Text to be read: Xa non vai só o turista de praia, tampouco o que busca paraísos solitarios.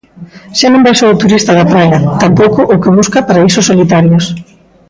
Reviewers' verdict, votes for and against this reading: rejected, 1, 2